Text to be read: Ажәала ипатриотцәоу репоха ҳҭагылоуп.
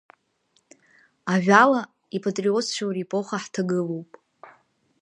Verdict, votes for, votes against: accepted, 2, 1